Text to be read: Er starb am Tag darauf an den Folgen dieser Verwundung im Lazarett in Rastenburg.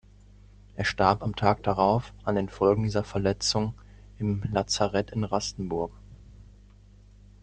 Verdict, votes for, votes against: rejected, 0, 2